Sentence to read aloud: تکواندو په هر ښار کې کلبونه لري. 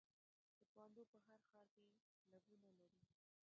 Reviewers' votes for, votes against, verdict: 1, 2, rejected